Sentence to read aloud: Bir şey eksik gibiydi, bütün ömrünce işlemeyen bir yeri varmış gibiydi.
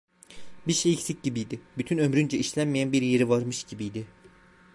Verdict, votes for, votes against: rejected, 1, 2